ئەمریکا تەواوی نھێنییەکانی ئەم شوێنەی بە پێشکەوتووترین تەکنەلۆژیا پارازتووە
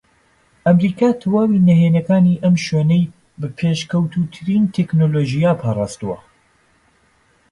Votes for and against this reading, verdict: 2, 1, accepted